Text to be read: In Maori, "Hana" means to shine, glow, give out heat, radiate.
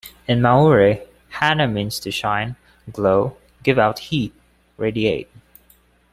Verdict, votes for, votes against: accepted, 2, 0